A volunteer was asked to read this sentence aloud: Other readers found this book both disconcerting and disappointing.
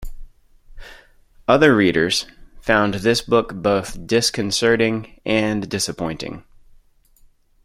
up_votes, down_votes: 2, 0